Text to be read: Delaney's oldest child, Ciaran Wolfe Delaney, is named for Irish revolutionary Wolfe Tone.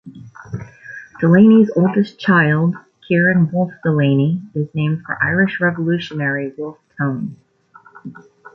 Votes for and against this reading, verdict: 2, 0, accepted